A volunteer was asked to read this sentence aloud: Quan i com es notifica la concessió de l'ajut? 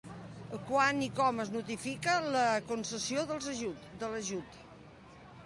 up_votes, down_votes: 0, 2